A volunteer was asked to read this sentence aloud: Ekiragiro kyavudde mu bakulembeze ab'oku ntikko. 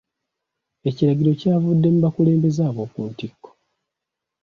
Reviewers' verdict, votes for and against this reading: accepted, 2, 0